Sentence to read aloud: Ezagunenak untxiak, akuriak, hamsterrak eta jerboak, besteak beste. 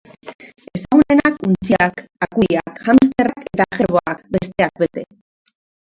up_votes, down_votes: 0, 2